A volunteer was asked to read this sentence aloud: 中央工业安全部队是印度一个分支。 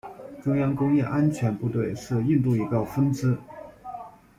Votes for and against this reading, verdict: 0, 2, rejected